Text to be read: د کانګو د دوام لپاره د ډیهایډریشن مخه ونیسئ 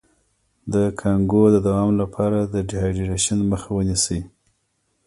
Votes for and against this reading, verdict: 2, 0, accepted